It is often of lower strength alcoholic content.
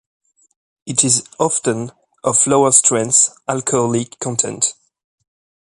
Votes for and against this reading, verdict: 2, 1, accepted